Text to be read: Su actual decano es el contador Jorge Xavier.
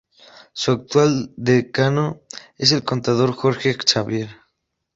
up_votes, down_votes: 2, 0